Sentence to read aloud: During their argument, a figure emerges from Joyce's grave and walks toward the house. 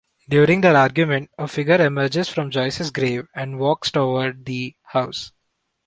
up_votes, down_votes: 2, 0